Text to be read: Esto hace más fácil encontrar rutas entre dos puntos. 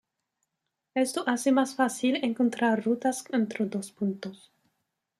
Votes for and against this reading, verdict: 2, 0, accepted